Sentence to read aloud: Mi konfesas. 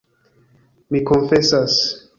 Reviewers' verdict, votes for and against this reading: accepted, 2, 0